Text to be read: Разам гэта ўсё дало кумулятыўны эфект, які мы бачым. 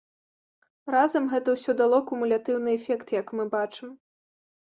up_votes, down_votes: 0, 2